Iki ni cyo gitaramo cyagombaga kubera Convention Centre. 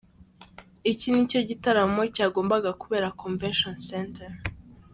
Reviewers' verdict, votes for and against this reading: accepted, 3, 1